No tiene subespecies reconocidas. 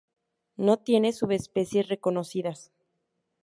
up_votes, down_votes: 4, 0